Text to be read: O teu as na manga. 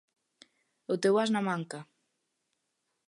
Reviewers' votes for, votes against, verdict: 1, 2, rejected